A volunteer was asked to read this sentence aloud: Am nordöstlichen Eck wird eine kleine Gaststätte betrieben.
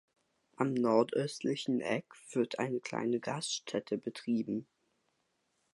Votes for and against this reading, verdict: 2, 0, accepted